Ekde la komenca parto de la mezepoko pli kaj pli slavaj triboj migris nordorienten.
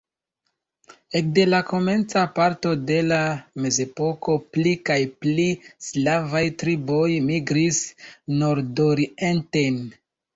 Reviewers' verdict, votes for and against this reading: accepted, 2, 0